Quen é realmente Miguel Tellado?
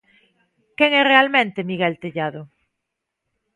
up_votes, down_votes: 2, 0